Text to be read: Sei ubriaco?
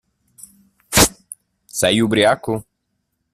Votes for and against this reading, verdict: 1, 2, rejected